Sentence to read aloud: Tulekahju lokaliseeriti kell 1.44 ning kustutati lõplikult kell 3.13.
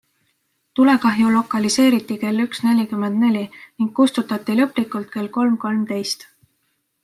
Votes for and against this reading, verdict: 0, 2, rejected